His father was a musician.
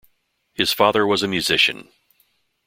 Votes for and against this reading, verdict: 2, 0, accepted